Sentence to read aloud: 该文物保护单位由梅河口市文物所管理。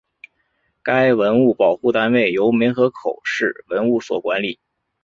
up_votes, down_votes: 2, 1